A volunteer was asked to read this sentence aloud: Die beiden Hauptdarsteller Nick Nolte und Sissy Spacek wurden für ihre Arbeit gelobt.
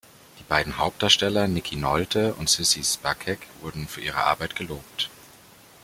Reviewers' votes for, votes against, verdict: 0, 2, rejected